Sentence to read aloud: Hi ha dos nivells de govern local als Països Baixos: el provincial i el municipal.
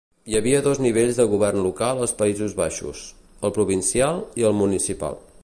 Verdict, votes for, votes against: rejected, 1, 2